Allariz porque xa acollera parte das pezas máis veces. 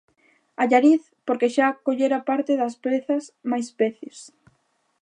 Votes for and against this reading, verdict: 2, 1, accepted